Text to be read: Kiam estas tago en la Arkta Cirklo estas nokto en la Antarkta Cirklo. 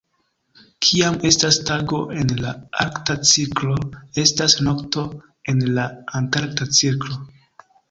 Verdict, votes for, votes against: rejected, 0, 2